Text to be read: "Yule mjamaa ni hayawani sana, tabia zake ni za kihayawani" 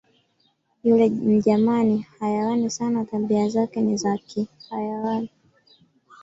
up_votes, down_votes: 0, 2